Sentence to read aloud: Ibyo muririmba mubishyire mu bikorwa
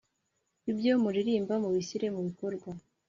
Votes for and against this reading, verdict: 2, 0, accepted